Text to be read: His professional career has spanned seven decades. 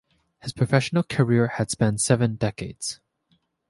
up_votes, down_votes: 3, 1